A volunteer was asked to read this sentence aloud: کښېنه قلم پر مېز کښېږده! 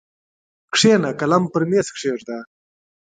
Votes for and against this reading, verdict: 2, 1, accepted